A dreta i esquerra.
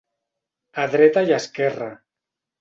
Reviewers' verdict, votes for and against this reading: accepted, 4, 0